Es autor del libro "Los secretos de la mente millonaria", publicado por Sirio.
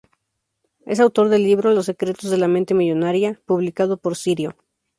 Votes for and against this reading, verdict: 2, 0, accepted